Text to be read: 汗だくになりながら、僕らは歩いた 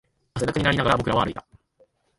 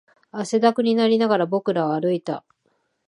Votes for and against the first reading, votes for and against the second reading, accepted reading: 1, 2, 3, 1, second